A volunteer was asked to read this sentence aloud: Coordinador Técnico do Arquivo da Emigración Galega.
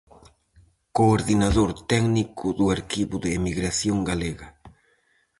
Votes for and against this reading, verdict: 4, 0, accepted